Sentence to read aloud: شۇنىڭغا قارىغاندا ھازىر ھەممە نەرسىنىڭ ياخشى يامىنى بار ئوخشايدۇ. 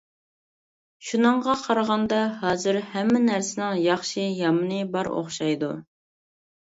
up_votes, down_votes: 2, 0